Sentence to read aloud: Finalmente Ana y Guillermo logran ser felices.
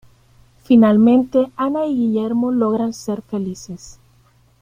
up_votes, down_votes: 2, 0